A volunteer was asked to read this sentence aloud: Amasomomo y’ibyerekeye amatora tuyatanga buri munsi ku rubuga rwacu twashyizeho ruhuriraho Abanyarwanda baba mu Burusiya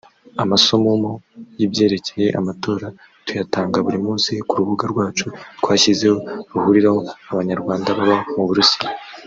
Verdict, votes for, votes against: rejected, 1, 2